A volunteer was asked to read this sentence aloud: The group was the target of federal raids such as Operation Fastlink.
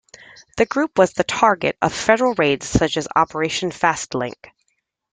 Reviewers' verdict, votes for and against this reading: accepted, 2, 0